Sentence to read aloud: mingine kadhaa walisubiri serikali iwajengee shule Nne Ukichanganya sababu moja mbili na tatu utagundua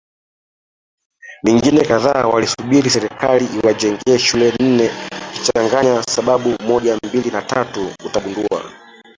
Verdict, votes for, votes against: rejected, 1, 2